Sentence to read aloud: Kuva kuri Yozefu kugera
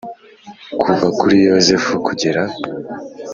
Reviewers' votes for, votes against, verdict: 2, 0, accepted